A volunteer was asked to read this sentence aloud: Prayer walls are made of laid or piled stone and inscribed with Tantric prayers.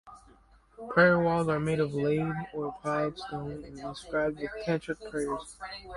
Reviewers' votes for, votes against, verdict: 0, 2, rejected